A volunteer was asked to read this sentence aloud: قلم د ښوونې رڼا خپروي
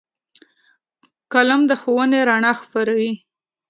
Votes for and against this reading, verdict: 3, 0, accepted